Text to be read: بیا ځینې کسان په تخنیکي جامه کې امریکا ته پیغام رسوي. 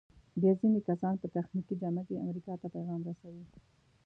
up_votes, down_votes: 1, 2